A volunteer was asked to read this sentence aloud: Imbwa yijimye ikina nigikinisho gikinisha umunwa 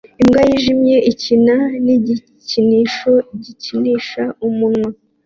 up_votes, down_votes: 2, 0